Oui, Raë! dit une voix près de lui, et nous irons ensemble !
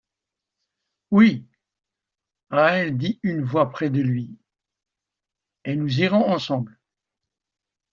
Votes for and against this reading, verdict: 2, 0, accepted